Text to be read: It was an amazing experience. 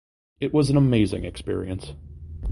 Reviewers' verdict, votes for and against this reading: accepted, 3, 0